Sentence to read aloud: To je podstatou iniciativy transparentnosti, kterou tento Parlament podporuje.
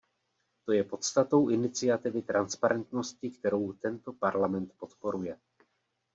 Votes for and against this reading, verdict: 2, 0, accepted